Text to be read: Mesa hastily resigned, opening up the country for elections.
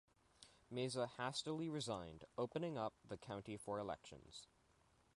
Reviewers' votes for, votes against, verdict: 0, 2, rejected